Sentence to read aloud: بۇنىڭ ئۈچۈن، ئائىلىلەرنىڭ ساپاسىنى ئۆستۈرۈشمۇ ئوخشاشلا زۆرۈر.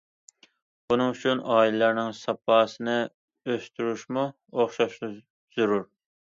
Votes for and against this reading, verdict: 2, 0, accepted